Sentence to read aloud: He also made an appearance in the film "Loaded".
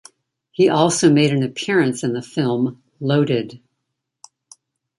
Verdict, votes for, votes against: accepted, 2, 0